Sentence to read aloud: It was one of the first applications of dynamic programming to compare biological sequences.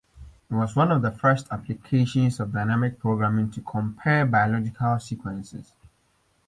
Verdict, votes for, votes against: accepted, 2, 0